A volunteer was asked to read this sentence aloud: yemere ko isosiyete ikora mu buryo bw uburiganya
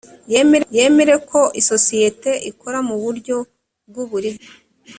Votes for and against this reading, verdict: 1, 2, rejected